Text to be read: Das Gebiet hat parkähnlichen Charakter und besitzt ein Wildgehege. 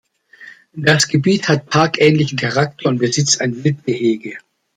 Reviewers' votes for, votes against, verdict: 2, 0, accepted